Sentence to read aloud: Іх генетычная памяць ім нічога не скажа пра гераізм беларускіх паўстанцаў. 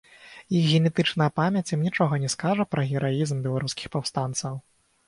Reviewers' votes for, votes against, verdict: 0, 6, rejected